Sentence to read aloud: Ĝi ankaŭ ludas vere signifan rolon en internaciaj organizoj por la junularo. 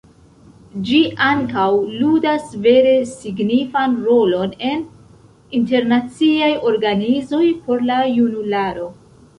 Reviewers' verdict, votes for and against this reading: accepted, 2, 0